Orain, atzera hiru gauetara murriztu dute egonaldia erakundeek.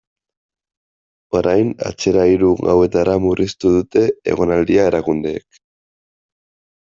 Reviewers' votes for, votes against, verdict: 1, 2, rejected